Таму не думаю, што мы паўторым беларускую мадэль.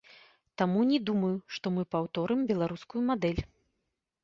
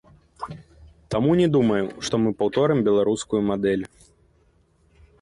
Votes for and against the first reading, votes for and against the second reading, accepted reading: 2, 1, 0, 2, first